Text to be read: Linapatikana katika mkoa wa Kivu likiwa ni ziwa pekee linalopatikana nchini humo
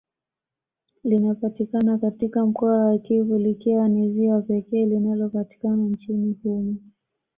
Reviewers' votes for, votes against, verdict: 2, 0, accepted